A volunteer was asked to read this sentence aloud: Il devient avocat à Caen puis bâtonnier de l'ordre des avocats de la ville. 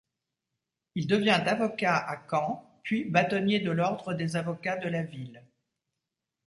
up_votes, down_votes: 2, 0